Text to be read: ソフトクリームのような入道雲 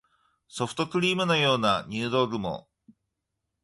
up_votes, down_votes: 2, 0